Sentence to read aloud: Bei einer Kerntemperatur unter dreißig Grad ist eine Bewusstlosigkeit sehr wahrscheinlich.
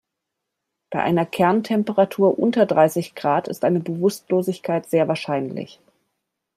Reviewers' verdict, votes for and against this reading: accepted, 2, 0